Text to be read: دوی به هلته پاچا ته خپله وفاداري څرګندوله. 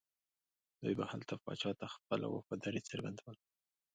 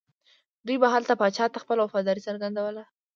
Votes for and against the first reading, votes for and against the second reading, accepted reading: 1, 2, 2, 0, second